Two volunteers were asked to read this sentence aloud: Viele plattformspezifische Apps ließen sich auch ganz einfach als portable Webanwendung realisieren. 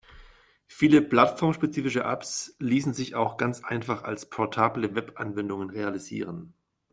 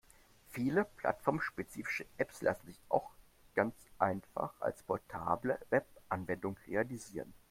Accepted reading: first